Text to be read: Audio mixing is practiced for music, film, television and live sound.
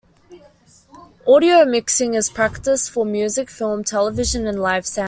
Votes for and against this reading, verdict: 2, 1, accepted